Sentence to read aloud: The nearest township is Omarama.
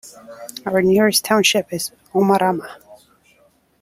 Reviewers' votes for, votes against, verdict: 0, 2, rejected